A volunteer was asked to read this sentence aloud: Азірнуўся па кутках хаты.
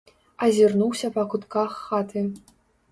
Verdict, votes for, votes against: accepted, 2, 0